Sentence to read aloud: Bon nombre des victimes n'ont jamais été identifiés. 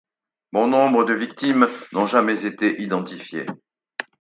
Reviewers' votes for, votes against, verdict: 2, 4, rejected